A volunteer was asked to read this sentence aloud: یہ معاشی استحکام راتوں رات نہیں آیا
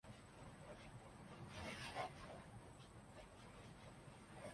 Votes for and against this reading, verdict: 0, 2, rejected